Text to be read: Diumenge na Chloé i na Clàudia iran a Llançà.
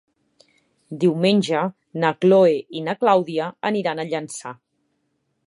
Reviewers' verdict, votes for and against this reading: rejected, 1, 2